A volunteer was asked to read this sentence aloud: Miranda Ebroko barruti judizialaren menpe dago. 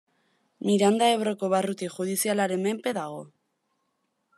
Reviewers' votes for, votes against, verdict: 2, 0, accepted